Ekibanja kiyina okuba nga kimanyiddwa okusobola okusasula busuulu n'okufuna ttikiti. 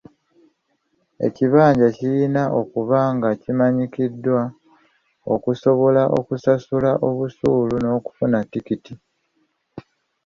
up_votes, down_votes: 1, 2